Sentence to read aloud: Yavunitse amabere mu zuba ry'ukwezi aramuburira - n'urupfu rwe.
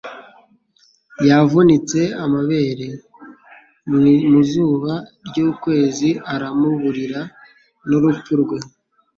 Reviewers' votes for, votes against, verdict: 1, 2, rejected